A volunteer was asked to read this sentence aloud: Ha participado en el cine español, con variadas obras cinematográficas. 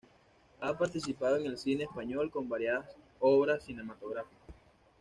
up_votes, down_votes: 2, 0